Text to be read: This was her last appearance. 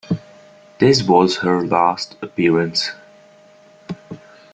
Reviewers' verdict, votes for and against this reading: accepted, 2, 0